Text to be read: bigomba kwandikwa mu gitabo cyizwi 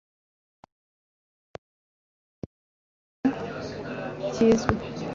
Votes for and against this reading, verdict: 1, 2, rejected